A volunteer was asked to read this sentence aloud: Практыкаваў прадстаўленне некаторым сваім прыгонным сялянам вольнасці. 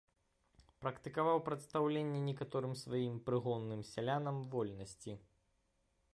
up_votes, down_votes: 0, 2